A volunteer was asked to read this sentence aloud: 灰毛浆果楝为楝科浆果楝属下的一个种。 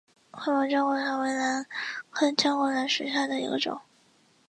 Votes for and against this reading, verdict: 0, 2, rejected